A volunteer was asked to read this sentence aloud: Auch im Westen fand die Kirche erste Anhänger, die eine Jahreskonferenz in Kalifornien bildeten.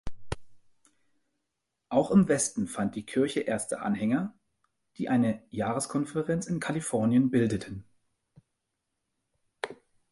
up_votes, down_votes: 2, 0